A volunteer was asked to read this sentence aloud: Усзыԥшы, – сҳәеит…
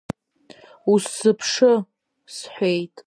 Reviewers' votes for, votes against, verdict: 2, 0, accepted